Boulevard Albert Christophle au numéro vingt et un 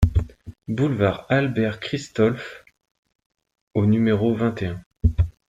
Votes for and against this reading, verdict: 0, 2, rejected